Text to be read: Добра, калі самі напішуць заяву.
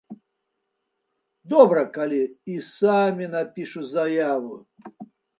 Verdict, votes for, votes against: rejected, 0, 2